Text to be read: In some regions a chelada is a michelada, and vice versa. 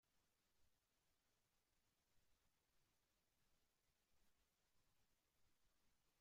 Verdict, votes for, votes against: rejected, 0, 2